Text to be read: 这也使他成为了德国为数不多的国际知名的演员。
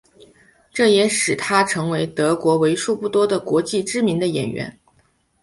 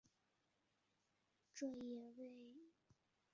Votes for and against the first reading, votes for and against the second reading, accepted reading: 3, 1, 0, 2, first